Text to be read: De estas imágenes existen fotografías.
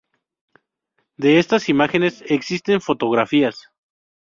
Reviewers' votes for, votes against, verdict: 2, 0, accepted